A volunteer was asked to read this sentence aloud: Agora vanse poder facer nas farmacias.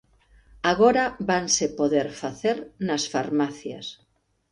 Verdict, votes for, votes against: accepted, 2, 0